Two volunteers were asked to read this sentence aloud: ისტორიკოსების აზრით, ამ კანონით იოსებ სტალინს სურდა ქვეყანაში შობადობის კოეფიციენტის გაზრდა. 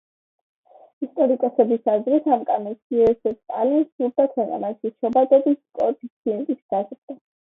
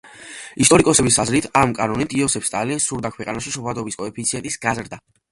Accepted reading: second